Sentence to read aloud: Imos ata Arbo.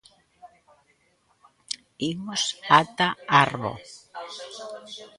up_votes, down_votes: 1, 2